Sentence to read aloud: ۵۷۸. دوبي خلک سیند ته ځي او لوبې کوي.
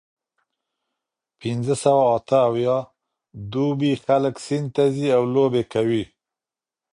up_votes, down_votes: 0, 2